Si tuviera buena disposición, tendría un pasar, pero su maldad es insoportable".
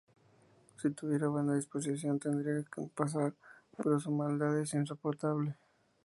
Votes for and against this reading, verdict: 0, 2, rejected